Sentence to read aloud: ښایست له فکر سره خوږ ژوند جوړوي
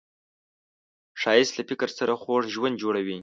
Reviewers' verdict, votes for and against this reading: accepted, 2, 0